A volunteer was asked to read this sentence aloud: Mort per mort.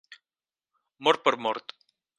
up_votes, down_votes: 4, 0